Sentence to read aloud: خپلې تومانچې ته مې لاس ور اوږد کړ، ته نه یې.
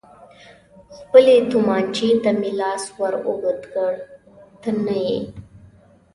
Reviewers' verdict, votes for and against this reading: accepted, 2, 0